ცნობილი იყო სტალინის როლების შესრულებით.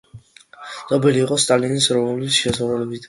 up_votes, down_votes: 2, 1